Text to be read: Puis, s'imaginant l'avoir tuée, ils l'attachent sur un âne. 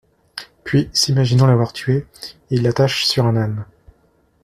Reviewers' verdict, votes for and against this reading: accepted, 2, 0